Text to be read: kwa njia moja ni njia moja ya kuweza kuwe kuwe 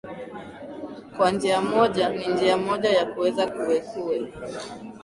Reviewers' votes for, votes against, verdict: 0, 2, rejected